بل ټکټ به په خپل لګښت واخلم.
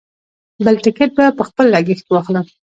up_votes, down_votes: 2, 0